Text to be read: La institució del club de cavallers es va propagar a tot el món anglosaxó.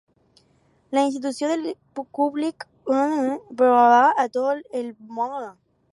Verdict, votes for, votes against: rejected, 0, 4